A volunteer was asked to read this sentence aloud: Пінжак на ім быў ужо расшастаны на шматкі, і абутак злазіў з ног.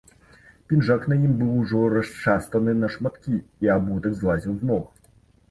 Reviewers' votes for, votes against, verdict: 2, 0, accepted